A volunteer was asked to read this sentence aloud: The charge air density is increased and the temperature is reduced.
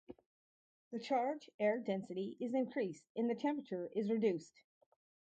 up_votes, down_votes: 0, 2